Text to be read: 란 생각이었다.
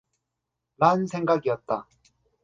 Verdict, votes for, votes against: accepted, 2, 0